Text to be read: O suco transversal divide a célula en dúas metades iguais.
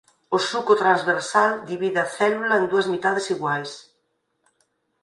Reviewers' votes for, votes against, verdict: 2, 4, rejected